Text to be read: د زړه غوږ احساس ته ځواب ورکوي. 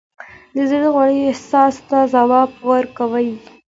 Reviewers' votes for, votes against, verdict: 2, 0, accepted